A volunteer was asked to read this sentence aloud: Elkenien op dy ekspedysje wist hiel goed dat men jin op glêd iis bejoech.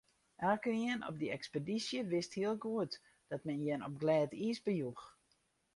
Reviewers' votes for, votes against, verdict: 4, 0, accepted